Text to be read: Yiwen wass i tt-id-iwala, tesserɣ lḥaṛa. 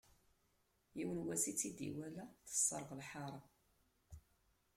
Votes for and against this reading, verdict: 2, 0, accepted